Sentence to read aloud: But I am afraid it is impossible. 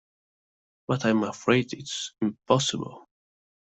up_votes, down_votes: 1, 2